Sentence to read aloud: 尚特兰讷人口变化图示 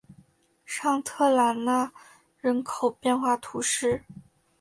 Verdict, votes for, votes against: accepted, 2, 0